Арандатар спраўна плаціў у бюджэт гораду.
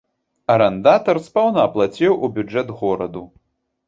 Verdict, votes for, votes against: rejected, 1, 2